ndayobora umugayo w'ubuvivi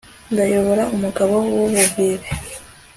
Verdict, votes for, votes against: rejected, 1, 2